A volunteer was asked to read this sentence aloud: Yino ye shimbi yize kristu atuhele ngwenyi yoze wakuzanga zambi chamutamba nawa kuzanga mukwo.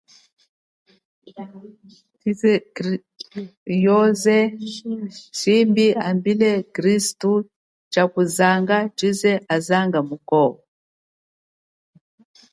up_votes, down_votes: 0, 6